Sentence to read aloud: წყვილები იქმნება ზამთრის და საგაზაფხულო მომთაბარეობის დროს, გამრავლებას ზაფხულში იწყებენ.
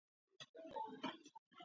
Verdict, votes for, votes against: rejected, 0, 2